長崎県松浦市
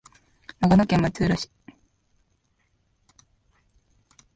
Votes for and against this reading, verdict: 1, 2, rejected